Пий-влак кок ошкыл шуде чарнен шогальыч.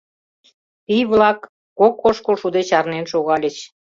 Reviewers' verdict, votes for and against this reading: accepted, 2, 0